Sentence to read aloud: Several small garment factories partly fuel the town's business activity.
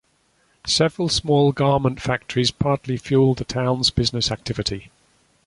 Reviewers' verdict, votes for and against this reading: accepted, 2, 0